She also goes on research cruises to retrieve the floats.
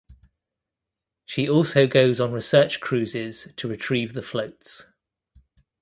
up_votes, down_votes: 2, 0